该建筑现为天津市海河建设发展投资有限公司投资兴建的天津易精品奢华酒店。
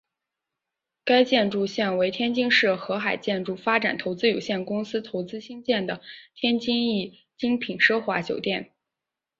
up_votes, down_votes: 4, 1